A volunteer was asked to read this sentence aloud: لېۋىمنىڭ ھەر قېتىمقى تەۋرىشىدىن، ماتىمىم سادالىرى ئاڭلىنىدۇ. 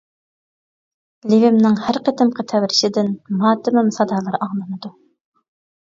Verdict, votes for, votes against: accepted, 2, 1